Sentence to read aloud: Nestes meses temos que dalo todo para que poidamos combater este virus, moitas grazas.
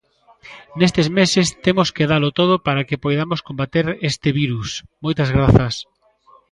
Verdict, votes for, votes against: rejected, 1, 2